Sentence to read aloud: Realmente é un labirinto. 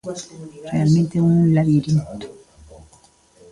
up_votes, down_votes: 2, 0